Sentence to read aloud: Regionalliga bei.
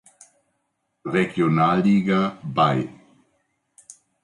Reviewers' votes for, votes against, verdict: 2, 0, accepted